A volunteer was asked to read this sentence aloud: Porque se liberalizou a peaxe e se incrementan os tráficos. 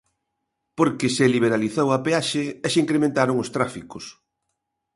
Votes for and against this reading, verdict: 1, 2, rejected